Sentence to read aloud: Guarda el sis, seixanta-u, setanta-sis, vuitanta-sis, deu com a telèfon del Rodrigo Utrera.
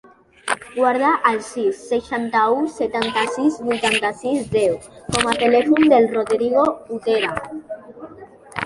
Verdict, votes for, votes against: rejected, 1, 2